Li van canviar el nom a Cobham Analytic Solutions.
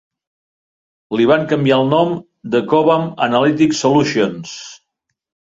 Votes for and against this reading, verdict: 0, 2, rejected